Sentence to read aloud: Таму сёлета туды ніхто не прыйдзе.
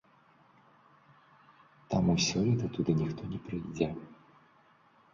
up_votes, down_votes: 1, 2